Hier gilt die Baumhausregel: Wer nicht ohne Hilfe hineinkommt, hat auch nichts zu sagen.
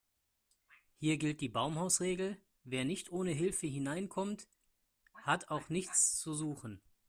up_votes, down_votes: 0, 2